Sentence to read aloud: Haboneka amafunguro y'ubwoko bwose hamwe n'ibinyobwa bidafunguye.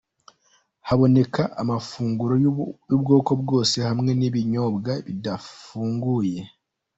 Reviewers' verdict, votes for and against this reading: accepted, 2, 1